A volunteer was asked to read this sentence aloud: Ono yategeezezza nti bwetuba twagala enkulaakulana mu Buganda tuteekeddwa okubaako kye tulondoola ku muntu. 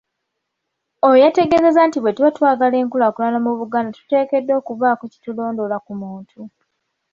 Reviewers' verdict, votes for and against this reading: accepted, 2, 0